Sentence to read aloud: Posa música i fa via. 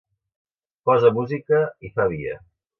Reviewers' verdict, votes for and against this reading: accepted, 2, 0